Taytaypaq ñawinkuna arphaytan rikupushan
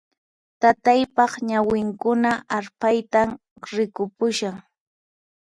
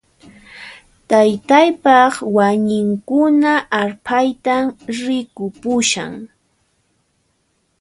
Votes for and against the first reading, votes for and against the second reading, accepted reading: 4, 0, 0, 2, first